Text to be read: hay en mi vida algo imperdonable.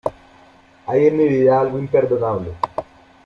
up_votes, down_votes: 2, 1